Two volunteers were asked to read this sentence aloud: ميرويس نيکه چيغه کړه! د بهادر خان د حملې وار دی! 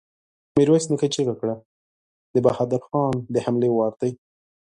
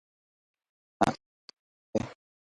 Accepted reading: first